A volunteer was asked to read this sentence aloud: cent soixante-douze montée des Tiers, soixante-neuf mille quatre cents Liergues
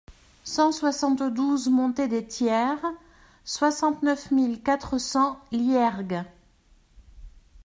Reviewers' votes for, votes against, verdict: 2, 0, accepted